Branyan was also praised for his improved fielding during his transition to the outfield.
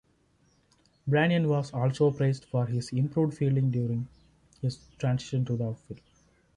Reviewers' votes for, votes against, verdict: 1, 2, rejected